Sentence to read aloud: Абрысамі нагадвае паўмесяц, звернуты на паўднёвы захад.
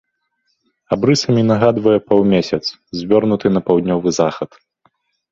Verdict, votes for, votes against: rejected, 1, 2